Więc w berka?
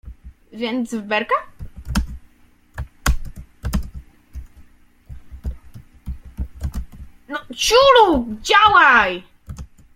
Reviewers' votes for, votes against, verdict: 0, 2, rejected